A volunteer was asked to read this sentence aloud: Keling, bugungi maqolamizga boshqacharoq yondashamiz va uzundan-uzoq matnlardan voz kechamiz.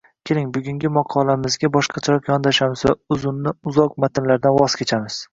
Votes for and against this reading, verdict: 0, 2, rejected